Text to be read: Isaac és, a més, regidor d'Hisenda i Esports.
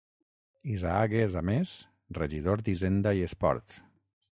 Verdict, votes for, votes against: accepted, 6, 0